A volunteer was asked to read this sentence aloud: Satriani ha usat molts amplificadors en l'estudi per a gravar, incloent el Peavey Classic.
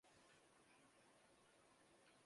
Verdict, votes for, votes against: rejected, 0, 3